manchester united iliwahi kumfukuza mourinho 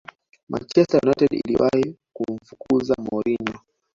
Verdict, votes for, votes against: accepted, 2, 1